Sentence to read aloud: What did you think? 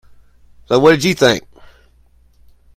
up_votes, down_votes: 1, 2